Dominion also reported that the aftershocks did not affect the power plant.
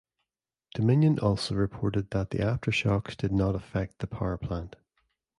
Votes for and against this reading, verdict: 2, 0, accepted